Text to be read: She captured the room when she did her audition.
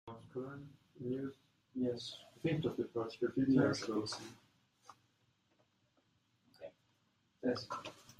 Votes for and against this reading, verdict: 0, 2, rejected